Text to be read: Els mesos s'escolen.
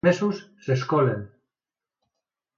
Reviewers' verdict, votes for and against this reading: rejected, 0, 2